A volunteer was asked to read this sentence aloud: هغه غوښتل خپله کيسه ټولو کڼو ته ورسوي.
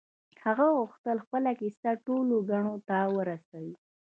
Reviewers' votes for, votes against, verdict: 2, 1, accepted